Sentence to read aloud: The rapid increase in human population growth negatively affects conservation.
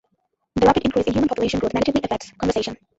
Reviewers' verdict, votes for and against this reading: rejected, 1, 2